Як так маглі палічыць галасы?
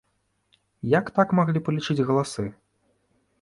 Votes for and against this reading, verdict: 2, 0, accepted